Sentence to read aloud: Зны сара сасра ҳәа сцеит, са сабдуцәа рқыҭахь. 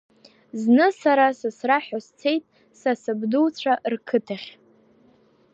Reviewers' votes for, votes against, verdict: 2, 0, accepted